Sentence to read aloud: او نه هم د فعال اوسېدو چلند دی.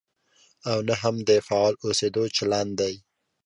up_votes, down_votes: 2, 0